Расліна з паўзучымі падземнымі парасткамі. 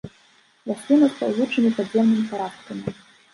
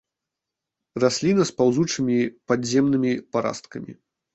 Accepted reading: first